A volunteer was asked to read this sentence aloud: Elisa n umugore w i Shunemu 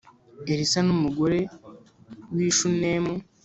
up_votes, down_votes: 2, 0